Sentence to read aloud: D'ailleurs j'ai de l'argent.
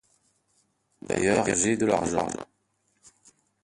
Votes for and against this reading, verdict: 0, 2, rejected